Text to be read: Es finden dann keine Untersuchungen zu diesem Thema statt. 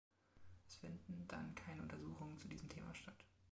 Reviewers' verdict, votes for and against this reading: rejected, 1, 2